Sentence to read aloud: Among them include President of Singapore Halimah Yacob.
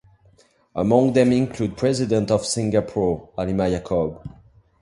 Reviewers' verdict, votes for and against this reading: accepted, 2, 0